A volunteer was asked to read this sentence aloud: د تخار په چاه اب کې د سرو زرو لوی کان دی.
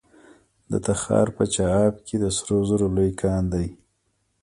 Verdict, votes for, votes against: rejected, 0, 2